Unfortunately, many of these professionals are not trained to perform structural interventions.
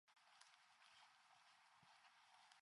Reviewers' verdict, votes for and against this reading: rejected, 0, 2